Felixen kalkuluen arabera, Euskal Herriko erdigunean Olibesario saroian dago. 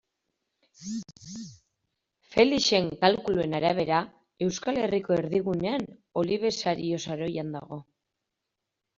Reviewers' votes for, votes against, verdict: 1, 2, rejected